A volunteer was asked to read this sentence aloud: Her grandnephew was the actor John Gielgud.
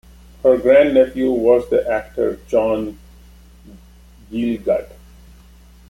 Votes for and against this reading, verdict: 1, 2, rejected